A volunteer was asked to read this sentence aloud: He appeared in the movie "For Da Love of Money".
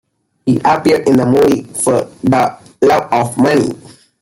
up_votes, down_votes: 2, 1